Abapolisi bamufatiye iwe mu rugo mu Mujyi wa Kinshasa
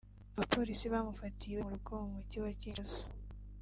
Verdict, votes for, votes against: rejected, 0, 2